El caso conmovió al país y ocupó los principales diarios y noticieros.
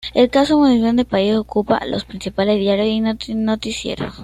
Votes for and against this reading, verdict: 1, 2, rejected